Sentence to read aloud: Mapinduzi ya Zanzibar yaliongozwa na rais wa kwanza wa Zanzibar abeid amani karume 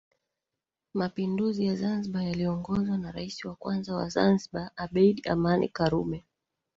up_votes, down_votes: 0, 2